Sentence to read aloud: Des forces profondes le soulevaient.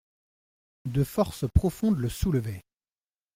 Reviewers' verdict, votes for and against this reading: rejected, 1, 2